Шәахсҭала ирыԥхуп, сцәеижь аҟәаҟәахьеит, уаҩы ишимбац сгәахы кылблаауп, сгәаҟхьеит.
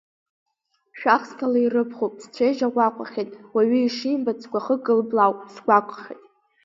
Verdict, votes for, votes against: accepted, 3, 0